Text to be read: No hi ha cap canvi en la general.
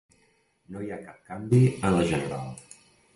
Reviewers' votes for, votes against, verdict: 2, 0, accepted